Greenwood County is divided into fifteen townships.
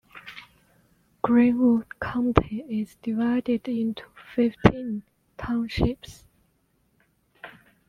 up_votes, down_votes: 2, 0